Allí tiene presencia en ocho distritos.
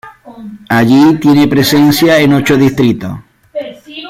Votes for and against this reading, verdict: 1, 2, rejected